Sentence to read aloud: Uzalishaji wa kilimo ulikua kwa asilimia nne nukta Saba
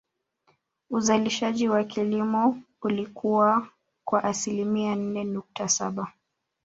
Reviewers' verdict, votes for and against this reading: accepted, 2, 0